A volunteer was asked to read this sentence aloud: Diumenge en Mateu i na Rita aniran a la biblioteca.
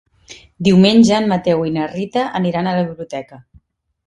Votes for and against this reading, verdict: 3, 0, accepted